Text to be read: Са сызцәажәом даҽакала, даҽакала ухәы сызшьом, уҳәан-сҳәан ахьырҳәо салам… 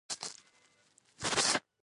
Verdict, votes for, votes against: rejected, 0, 2